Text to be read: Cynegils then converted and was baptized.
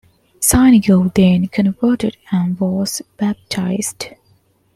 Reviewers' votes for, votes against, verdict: 2, 1, accepted